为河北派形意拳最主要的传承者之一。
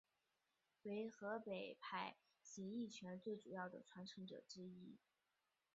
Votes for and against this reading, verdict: 1, 3, rejected